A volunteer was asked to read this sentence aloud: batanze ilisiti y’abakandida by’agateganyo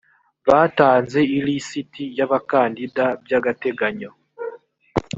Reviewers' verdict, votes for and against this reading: accepted, 2, 0